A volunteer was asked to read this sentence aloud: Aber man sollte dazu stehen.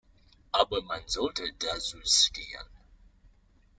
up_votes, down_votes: 1, 2